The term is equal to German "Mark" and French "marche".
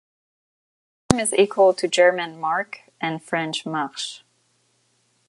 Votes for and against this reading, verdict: 1, 2, rejected